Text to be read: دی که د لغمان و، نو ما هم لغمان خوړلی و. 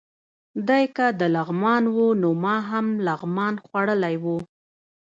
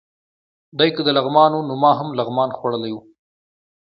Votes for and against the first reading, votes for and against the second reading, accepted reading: 0, 2, 2, 0, second